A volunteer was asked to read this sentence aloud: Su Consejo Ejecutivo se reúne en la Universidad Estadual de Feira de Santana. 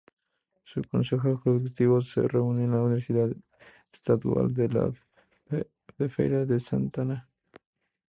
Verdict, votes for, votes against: rejected, 0, 4